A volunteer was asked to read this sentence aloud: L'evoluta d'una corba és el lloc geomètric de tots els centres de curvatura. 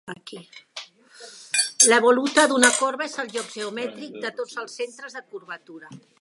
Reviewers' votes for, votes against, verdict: 1, 3, rejected